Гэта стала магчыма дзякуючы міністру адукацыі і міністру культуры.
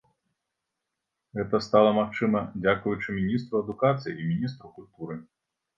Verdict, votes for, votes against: rejected, 1, 2